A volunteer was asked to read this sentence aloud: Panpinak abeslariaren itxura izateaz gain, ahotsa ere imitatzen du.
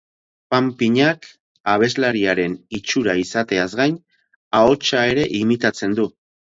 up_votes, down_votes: 2, 0